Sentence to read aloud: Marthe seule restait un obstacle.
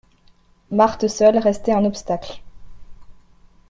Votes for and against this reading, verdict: 2, 0, accepted